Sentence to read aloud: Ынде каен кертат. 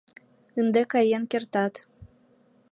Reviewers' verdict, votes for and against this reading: accepted, 2, 0